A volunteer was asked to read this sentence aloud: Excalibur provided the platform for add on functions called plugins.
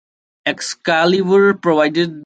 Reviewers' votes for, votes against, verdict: 0, 2, rejected